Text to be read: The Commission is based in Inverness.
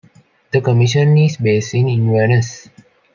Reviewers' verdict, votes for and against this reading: rejected, 1, 2